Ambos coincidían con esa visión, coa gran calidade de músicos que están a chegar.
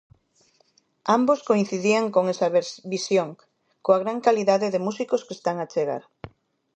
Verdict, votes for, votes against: rejected, 0, 2